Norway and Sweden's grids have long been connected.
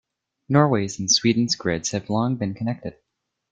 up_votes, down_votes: 2, 1